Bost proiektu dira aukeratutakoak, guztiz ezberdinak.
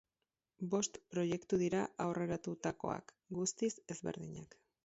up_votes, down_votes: 2, 2